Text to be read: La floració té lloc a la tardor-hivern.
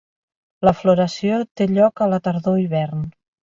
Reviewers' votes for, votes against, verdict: 2, 0, accepted